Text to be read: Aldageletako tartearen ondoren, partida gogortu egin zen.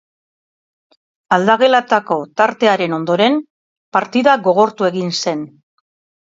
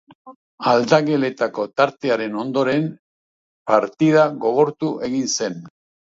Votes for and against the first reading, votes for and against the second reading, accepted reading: 2, 3, 3, 0, second